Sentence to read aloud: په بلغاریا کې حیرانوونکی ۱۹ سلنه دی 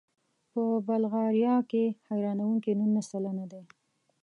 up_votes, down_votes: 0, 2